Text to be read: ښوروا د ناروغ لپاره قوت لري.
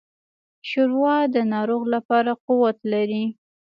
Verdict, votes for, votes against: rejected, 0, 2